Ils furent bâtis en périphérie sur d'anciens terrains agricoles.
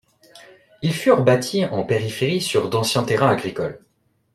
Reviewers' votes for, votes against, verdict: 2, 0, accepted